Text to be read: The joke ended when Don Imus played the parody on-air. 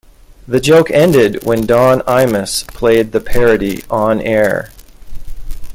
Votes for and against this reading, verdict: 2, 0, accepted